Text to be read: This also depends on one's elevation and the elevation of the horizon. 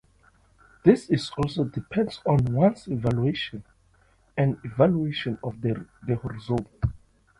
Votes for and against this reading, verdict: 0, 2, rejected